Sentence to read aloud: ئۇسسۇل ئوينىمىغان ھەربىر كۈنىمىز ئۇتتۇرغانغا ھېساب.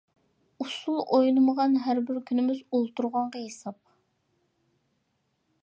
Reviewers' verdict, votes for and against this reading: rejected, 0, 2